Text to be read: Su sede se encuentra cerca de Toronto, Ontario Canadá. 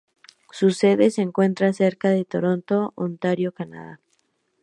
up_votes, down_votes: 4, 0